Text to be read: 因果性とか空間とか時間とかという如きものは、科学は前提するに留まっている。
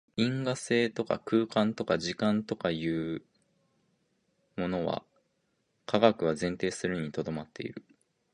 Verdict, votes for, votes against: rejected, 1, 2